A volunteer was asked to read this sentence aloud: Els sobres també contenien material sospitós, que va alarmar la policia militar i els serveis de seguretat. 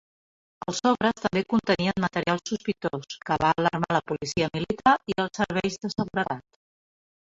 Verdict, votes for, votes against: accepted, 2, 1